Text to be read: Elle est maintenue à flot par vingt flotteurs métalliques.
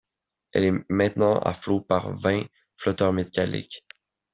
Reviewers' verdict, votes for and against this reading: rejected, 0, 2